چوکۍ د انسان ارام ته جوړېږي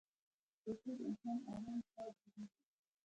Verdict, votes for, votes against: rejected, 1, 2